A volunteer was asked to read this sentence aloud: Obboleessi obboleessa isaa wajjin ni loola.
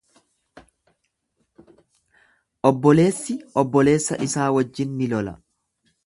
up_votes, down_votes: 1, 2